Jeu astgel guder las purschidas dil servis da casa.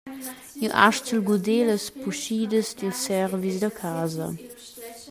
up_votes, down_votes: 1, 2